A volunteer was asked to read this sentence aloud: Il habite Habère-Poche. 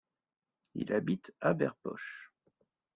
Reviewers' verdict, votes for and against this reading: accepted, 2, 0